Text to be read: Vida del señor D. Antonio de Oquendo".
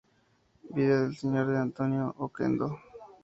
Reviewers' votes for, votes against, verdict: 2, 0, accepted